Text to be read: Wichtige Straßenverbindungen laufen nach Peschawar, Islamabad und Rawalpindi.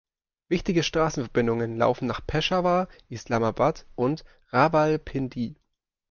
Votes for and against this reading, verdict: 1, 2, rejected